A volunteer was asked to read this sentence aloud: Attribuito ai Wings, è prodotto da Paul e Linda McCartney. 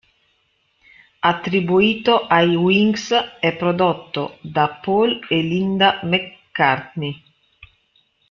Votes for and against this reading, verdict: 3, 1, accepted